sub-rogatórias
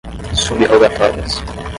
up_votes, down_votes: 5, 10